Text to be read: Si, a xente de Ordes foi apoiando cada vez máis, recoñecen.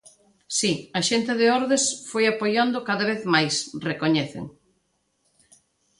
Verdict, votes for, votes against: accepted, 2, 0